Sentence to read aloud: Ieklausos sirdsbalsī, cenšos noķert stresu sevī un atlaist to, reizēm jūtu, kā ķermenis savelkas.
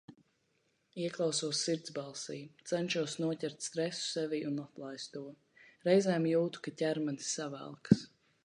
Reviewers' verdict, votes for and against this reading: rejected, 1, 2